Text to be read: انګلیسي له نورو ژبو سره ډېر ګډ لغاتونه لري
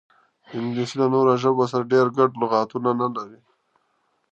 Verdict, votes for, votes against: rejected, 0, 2